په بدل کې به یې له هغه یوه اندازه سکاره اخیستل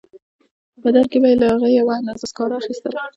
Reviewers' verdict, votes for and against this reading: rejected, 1, 2